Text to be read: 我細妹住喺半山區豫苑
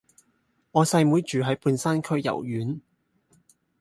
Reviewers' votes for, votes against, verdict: 0, 2, rejected